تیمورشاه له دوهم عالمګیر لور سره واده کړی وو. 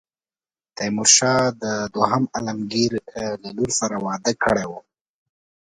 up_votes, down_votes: 2, 0